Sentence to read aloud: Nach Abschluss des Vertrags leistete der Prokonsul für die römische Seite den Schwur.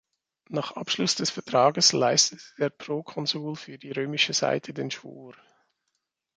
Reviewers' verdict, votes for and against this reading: rejected, 0, 2